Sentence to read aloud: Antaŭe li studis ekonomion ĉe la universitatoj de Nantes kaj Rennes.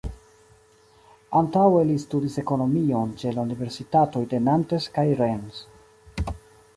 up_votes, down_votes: 2, 1